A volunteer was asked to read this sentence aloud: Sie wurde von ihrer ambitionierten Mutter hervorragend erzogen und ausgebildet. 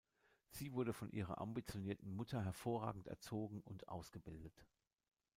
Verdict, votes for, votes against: rejected, 1, 2